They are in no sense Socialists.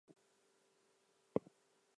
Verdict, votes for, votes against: rejected, 0, 2